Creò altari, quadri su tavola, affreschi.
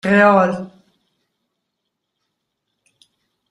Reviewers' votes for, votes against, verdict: 0, 2, rejected